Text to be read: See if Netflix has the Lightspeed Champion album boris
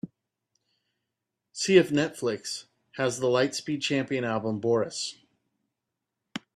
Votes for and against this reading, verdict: 2, 0, accepted